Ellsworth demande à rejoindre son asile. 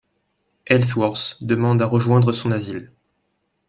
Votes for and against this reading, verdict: 2, 0, accepted